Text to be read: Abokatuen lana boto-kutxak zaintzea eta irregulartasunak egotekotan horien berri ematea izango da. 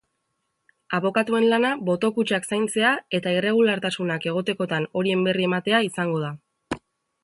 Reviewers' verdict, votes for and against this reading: accepted, 4, 0